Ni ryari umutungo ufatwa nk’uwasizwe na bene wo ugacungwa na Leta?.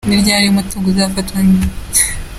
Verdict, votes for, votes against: rejected, 0, 2